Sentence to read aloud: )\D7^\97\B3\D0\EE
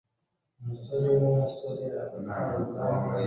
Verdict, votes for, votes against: rejected, 0, 2